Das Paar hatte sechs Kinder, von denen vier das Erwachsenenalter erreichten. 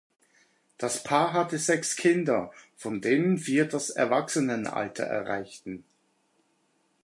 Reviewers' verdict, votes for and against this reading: accepted, 2, 0